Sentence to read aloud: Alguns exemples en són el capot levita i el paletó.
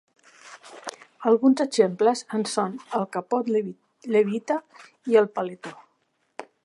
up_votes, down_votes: 0, 2